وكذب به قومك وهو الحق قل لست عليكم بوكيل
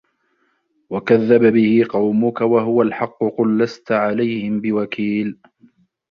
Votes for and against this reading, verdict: 0, 2, rejected